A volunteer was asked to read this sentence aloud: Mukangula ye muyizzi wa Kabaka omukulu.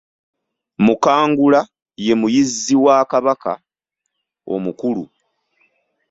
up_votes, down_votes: 2, 0